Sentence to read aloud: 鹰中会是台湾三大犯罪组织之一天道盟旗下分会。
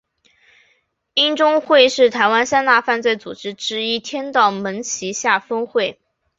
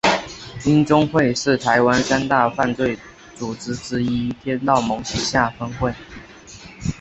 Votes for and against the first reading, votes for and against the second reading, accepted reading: 7, 0, 0, 3, first